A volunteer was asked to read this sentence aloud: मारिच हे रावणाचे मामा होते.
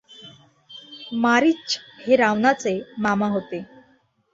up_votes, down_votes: 2, 0